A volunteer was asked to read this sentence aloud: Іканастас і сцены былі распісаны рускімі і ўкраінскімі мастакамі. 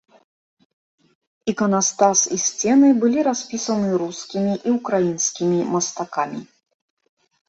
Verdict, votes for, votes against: accepted, 2, 0